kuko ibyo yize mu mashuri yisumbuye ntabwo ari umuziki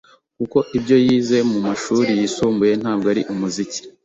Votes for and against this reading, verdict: 2, 0, accepted